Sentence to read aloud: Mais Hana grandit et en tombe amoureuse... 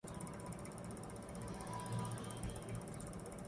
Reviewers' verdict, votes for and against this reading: rejected, 0, 2